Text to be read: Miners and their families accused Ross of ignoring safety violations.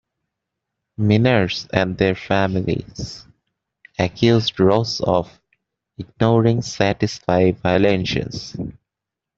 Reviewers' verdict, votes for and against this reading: rejected, 1, 2